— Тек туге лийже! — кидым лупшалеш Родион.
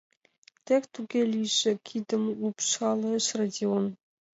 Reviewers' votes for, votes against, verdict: 2, 0, accepted